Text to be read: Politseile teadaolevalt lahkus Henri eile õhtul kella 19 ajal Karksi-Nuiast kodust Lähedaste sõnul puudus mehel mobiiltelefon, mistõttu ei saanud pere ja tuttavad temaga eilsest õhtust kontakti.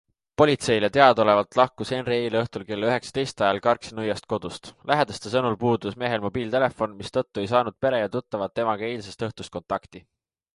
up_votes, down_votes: 0, 2